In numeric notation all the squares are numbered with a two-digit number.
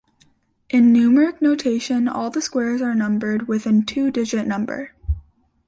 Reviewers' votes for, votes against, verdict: 1, 2, rejected